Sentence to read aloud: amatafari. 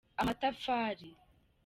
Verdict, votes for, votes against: accepted, 2, 0